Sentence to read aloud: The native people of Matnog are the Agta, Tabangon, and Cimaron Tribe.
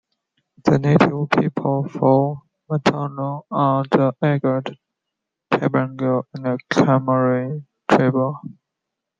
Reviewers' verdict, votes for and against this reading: rejected, 1, 2